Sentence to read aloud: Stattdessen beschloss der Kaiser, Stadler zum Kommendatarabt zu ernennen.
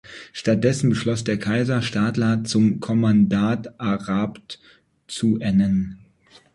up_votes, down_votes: 1, 2